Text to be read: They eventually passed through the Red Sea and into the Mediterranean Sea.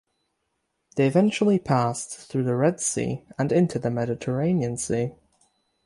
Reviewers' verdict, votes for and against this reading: rejected, 3, 3